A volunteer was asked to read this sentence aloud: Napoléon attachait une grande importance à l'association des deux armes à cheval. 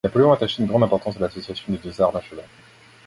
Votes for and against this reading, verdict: 1, 2, rejected